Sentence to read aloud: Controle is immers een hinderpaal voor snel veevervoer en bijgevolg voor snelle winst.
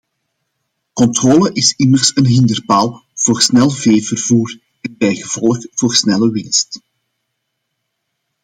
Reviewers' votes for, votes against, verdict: 2, 0, accepted